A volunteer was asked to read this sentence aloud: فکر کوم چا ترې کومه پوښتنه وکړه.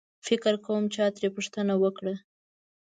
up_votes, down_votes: 1, 2